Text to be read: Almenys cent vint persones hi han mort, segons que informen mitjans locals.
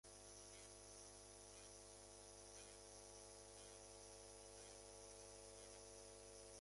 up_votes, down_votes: 0, 4